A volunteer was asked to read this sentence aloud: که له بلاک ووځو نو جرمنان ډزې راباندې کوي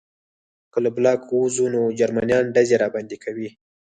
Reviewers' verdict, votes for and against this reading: rejected, 0, 4